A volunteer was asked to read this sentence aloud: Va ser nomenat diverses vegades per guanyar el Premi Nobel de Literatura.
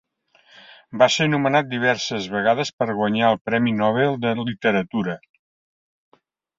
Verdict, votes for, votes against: rejected, 1, 2